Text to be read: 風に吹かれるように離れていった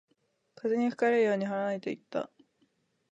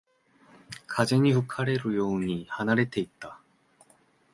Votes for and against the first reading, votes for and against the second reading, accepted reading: 1, 2, 2, 0, second